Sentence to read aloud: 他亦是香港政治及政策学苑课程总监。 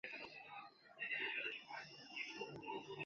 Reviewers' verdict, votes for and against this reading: rejected, 1, 2